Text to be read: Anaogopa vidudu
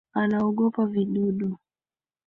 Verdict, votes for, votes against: accepted, 2, 1